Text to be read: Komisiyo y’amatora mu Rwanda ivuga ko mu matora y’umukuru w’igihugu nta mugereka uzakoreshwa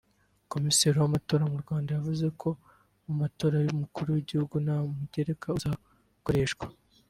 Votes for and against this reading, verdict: 3, 4, rejected